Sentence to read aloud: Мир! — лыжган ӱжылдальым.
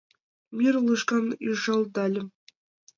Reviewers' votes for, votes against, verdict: 2, 0, accepted